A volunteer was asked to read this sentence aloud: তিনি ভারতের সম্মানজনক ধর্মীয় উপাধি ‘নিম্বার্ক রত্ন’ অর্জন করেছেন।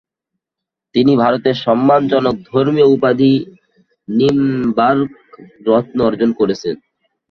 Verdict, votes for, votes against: rejected, 0, 4